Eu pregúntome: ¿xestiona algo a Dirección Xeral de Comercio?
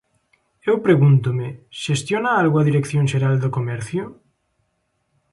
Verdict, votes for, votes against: rejected, 1, 2